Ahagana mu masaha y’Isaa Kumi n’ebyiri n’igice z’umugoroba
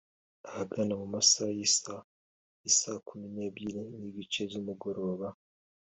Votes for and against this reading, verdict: 3, 1, accepted